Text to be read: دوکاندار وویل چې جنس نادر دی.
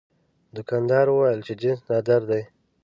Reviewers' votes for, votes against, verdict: 2, 0, accepted